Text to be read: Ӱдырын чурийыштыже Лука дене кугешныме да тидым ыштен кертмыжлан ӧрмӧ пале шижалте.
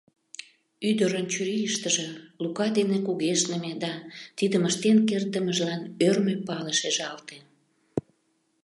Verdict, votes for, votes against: rejected, 0, 2